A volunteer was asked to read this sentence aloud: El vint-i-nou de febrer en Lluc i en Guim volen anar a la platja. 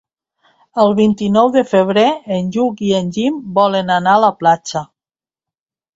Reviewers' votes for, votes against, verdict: 1, 2, rejected